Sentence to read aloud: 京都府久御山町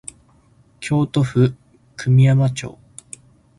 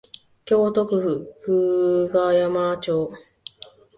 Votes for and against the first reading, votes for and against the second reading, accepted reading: 4, 0, 0, 2, first